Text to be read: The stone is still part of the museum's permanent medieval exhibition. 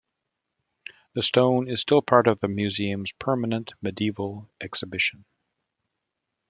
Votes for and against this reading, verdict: 2, 0, accepted